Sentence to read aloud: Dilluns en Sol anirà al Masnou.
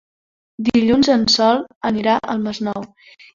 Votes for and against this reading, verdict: 3, 0, accepted